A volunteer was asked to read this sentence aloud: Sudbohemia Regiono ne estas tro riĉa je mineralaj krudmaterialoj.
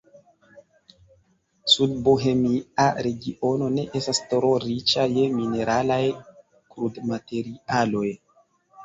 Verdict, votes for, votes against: rejected, 0, 2